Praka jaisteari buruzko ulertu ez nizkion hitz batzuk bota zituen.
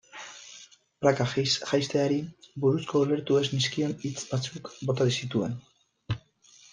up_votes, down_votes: 0, 3